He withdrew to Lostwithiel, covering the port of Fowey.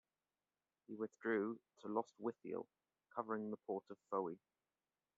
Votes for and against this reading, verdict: 1, 2, rejected